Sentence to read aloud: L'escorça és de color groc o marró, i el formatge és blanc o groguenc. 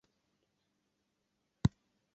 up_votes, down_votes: 0, 2